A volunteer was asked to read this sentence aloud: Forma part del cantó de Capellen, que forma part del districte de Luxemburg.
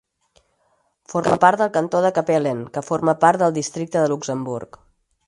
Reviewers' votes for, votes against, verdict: 4, 0, accepted